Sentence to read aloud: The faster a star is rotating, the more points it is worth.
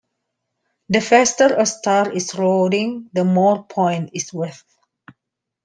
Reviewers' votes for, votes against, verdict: 0, 2, rejected